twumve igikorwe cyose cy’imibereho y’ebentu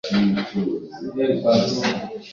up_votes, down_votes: 0, 2